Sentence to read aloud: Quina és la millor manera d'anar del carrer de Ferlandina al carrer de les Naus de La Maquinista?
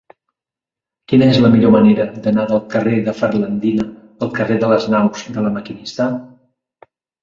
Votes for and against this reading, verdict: 2, 0, accepted